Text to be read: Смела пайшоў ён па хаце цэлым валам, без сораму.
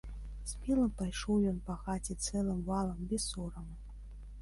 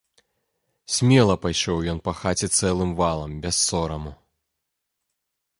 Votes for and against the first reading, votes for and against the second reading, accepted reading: 0, 2, 2, 1, second